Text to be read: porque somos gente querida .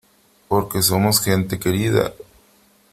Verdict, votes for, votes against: accepted, 3, 0